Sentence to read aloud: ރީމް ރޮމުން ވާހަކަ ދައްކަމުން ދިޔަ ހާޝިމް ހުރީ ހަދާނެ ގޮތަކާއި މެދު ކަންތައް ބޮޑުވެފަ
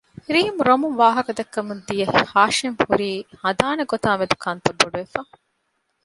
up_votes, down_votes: 2, 0